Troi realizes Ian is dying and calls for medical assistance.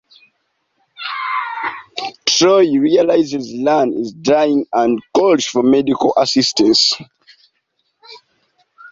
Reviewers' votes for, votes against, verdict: 0, 2, rejected